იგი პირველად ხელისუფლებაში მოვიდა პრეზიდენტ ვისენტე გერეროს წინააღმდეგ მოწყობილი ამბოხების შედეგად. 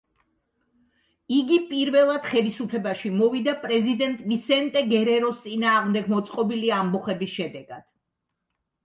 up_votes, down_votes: 2, 0